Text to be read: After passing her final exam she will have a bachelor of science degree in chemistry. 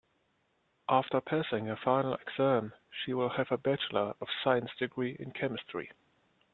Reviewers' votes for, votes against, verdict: 1, 2, rejected